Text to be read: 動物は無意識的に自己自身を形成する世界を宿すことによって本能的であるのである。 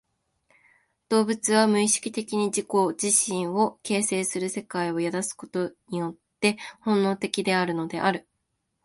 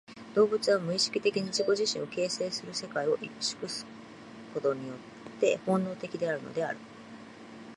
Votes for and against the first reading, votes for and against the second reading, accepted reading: 2, 0, 0, 2, first